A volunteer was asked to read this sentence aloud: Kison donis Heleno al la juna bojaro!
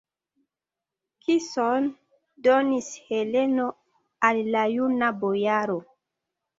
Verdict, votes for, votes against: rejected, 1, 2